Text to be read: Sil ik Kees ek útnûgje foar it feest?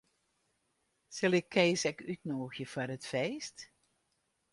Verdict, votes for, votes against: accepted, 2, 0